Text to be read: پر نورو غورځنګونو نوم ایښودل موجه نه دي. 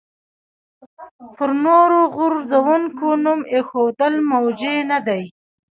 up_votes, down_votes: 1, 2